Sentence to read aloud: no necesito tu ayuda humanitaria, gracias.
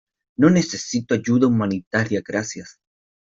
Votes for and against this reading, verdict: 0, 2, rejected